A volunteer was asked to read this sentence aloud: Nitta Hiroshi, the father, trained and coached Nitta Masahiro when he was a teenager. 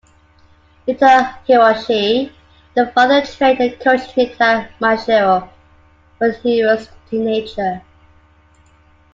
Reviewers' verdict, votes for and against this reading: rejected, 0, 2